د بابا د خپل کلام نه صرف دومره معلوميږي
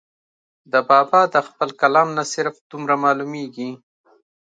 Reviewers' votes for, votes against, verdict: 2, 1, accepted